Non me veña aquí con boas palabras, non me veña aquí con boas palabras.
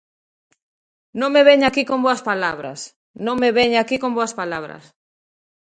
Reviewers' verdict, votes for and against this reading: accepted, 2, 0